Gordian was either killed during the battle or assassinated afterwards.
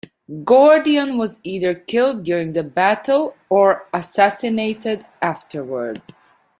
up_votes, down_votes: 2, 0